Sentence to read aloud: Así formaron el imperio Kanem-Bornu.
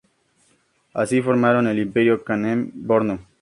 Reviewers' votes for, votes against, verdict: 2, 0, accepted